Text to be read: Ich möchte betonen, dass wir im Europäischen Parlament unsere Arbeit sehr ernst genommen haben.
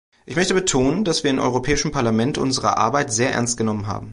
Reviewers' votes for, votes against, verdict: 2, 1, accepted